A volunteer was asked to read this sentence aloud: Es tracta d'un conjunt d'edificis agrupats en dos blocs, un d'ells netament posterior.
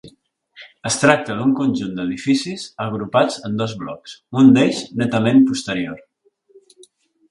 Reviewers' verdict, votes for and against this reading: accepted, 4, 0